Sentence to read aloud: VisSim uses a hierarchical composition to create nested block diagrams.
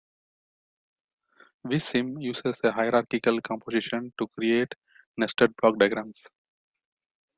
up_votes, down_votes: 2, 0